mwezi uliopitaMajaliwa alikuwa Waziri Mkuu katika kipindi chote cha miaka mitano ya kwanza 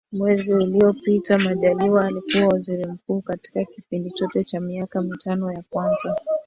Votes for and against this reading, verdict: 0, 2, rejected